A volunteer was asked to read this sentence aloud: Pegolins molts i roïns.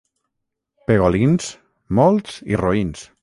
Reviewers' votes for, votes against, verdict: 0, 6, rejected